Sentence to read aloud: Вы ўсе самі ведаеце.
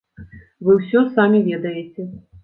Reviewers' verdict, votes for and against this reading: rejected, 1, 2